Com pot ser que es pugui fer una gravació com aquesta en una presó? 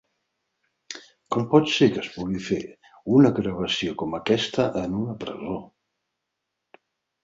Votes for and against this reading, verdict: 0, 4, rejected